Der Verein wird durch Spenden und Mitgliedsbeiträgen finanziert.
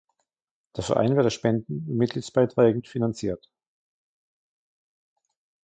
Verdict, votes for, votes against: rejected, 1, 2